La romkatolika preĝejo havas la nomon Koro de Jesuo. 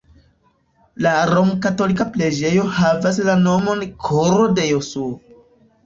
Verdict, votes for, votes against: accepted, 2, 1